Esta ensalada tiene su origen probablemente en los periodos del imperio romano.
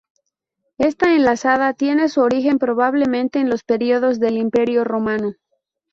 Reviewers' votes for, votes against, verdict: 0, 2, rejected